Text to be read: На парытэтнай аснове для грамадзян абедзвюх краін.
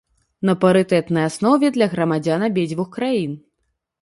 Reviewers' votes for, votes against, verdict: 3, 0, accepted